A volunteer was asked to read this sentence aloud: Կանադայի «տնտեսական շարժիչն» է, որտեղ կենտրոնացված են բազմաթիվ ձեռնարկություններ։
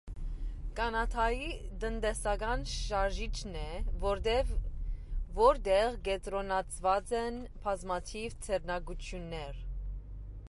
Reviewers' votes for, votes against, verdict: 1, 2, rejected